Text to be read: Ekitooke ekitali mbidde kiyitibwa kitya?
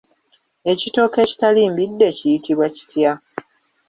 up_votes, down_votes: 2, 0